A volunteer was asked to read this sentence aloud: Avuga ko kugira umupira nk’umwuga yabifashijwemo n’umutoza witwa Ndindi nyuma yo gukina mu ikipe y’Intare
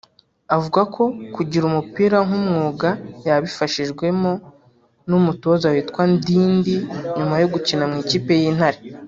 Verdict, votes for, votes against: rejected, 0, 2